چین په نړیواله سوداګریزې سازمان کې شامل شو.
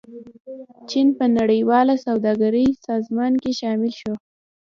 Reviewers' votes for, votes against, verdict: 1, 2, rejected